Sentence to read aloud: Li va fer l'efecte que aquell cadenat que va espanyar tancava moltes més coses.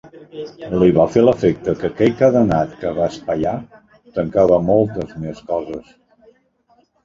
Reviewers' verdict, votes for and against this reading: rejected, 1, 2